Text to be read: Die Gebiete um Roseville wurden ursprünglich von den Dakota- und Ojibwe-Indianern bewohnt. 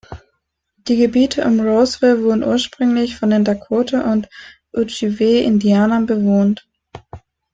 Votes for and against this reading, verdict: 1, 2, rejected